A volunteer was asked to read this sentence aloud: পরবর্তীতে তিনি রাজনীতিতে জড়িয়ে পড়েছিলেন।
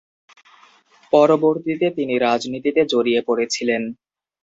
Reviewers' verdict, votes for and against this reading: accepted, 2, 0